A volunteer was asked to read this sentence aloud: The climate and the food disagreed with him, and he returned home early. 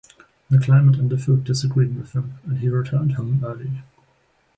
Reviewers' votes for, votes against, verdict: 0, 2, rejected